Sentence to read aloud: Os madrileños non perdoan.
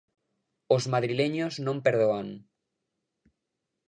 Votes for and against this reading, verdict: 2, 0, accepted